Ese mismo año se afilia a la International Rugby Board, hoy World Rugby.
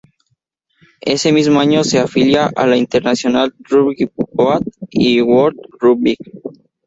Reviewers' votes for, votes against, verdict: 0, 2, rejected